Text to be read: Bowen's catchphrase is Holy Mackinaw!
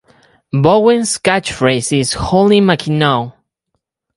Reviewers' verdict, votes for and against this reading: accepted, 4, 0